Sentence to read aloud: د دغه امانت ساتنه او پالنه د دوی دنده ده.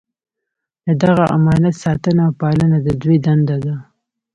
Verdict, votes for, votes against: rejected, 1, 2